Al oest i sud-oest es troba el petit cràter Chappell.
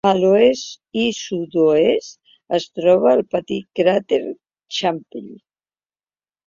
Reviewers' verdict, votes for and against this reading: rejected, 1, 2